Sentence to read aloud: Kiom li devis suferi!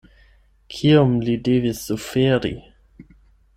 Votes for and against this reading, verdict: 8, 0, accepted